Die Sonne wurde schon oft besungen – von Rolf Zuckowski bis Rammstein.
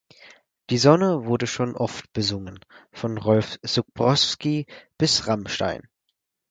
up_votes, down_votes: 0, 4